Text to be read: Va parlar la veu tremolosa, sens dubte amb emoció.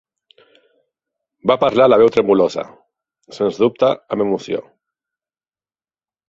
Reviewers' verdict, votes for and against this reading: accepted, 4, 0